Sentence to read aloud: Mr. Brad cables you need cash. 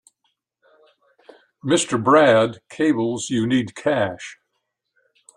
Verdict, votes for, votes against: accepted, 3, 0